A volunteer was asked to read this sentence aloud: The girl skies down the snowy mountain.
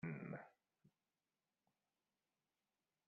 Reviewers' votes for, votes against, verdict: 0, 2, rejected